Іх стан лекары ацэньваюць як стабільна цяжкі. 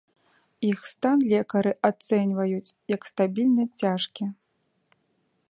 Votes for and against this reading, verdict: 2, 0, accepted